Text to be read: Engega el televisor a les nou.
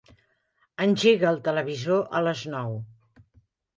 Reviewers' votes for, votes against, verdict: 3, 1, accepted